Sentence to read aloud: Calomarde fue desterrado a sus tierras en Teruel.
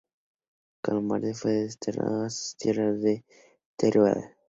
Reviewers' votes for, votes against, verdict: 0, 2, rejected